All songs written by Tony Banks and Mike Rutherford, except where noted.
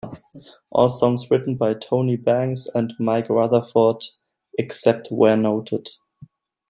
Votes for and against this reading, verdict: 2, 0, accepted